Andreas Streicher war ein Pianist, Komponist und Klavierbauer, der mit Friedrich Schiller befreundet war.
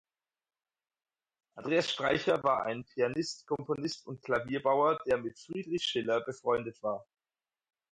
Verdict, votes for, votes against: accepted, 4, 0